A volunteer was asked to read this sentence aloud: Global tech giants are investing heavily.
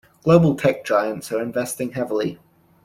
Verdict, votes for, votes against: accepted, 2, 0